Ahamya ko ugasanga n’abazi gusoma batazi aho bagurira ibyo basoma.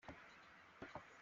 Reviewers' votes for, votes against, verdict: 0, 2, rejected